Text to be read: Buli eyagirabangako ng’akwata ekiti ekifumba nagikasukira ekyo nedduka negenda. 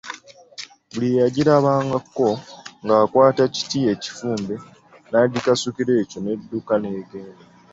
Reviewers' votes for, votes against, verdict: 2, 0, accepted